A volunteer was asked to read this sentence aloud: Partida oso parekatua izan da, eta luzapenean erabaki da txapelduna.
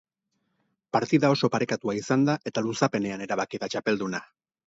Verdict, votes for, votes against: accepted, 6, 0